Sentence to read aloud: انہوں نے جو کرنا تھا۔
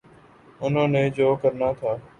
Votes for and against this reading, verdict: 3, 0, accepted